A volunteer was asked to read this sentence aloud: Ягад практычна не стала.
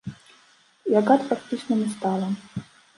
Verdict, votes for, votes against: rejected, 0, 2